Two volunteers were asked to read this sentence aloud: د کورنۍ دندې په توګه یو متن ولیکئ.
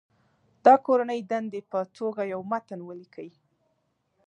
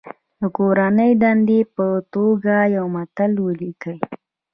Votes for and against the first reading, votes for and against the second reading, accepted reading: 3, 0, 1, 2, first